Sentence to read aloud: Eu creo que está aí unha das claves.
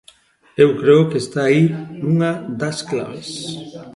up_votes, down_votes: 2, 0